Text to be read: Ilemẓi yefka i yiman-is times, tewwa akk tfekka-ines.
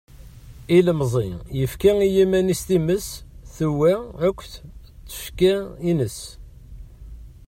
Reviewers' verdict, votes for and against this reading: rejected, 1, 2